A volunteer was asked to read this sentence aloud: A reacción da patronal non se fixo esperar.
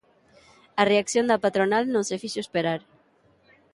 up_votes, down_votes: 2, 0